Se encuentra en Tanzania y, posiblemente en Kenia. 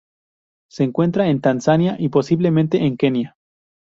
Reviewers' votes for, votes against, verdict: 6, 0, accepted